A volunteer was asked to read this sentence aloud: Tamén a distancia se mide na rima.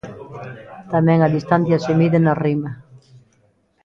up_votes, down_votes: 2, 0